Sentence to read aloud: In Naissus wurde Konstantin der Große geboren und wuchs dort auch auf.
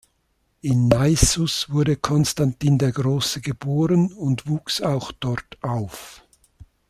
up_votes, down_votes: 0, 2